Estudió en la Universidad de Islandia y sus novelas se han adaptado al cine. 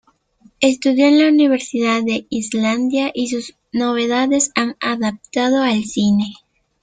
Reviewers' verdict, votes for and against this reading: rejected, 0, 2